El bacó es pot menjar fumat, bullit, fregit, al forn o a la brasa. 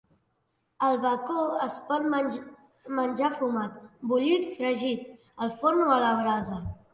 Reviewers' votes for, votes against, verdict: 0, 2, rejected